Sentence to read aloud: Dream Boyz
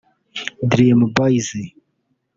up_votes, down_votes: 1, 2